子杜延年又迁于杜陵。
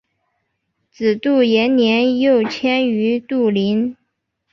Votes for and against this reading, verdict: 4, 1, accepted